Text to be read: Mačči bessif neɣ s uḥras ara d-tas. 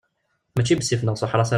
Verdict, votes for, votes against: rejected, 0, 2